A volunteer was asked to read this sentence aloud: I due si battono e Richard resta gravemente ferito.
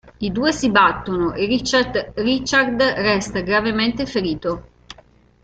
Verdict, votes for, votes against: rejected, 0, 2